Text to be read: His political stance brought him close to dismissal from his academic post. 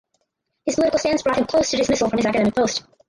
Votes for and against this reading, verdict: 0, 2, rejected